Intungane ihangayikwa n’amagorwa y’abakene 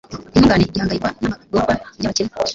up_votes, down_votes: 1, 2